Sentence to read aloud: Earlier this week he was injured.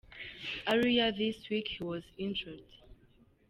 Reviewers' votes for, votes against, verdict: 1, 2, rejected